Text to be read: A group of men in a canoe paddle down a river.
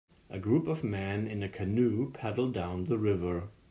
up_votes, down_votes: 0, 2